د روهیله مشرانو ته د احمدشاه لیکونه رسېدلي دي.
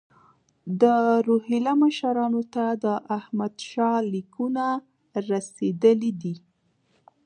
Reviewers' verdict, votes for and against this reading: accepted, 2, 0